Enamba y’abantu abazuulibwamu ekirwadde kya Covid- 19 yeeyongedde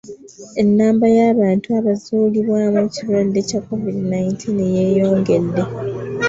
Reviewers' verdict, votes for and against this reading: rejected, 0, 2